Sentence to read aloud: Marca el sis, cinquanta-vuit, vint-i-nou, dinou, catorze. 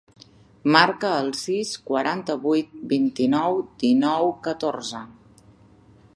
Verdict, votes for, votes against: rejected, 0, 2